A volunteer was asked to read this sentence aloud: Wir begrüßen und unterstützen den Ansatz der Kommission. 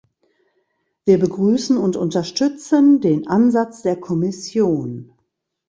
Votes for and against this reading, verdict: 2, 0, accepted